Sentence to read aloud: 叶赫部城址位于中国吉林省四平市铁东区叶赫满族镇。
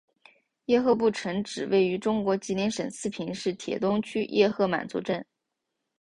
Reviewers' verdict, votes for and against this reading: accepted, 2, 0